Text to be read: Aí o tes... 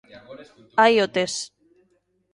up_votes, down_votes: 2, 1